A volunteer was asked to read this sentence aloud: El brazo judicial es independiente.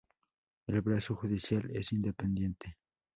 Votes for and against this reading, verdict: 4, 0, accepted